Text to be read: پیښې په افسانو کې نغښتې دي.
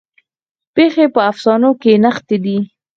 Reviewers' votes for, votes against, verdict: 4, 0, accepted